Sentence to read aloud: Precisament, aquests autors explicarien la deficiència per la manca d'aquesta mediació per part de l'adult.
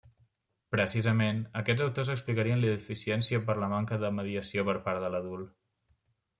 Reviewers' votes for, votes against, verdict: 1, 2, rejected